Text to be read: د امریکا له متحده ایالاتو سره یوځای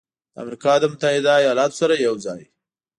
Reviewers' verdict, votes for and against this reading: accepted, 2, 0